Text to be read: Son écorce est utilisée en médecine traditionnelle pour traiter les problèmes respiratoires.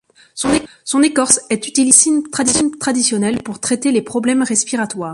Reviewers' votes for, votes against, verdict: 0, 2, rejected